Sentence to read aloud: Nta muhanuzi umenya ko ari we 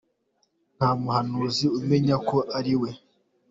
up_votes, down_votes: 2, 0